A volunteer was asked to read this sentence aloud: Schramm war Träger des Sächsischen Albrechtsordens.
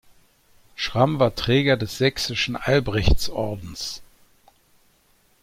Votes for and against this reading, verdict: 2, 0, accepted